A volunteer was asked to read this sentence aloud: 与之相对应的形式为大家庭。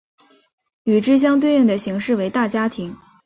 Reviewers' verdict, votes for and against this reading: accepted, 2, 0